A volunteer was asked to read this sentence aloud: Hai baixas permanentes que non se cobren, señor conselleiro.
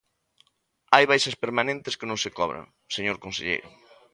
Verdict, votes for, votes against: rejected, 1, 2